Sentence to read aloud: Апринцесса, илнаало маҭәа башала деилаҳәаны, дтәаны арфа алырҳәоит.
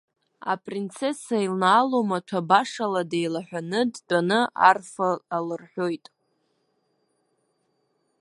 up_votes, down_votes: 1, 2